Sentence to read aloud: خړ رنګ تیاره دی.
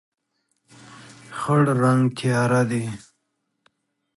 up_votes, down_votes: 2, 0